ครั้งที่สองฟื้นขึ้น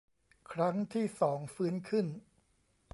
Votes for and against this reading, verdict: 2, 0, accepted